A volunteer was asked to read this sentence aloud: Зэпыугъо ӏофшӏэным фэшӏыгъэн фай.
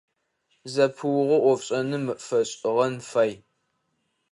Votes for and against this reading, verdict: 2, 0, accepted